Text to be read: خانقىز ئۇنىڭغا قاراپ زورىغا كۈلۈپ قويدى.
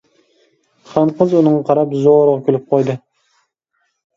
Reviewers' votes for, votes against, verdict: 2, 0, accepted